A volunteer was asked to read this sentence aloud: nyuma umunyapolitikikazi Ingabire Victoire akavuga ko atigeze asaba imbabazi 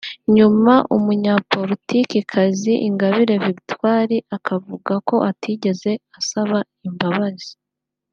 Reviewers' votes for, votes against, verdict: 2, 0, accepted